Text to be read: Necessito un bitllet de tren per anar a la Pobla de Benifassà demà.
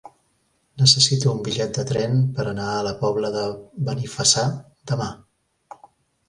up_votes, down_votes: 2, 0